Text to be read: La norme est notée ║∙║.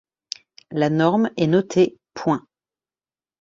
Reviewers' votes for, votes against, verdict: 0, 2, rejected